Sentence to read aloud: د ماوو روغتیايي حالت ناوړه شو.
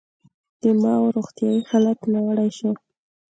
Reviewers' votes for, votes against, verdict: 2, 0, accepted